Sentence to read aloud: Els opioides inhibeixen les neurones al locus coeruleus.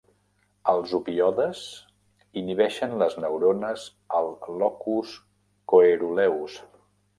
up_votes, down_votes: 0, 2